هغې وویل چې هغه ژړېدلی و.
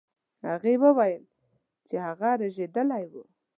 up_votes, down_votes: 1, 2